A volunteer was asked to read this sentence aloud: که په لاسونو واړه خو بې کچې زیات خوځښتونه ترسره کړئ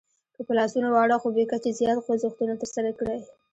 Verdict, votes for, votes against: rejected, 0, 2